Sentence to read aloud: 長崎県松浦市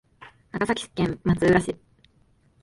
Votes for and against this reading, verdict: 3, 0, accepted